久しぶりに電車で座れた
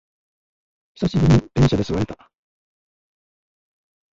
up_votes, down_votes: 0, 2